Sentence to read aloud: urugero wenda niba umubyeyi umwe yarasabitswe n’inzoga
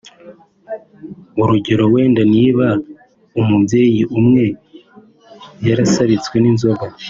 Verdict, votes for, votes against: accepted, 3, 0